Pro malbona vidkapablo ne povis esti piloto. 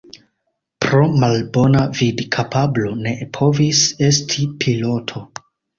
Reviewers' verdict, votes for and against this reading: accepted, 3, 0